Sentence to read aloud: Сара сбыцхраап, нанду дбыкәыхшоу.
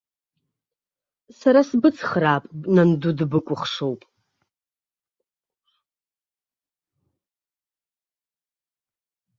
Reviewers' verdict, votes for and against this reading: rejected, 0, 2